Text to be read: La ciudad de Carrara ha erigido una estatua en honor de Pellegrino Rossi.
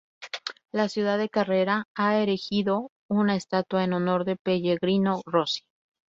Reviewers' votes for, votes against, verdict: 0, 2, rejected